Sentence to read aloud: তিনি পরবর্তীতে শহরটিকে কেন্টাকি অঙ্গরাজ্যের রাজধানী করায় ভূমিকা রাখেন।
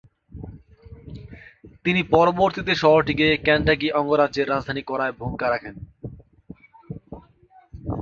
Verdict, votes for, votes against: accepted, 2, 0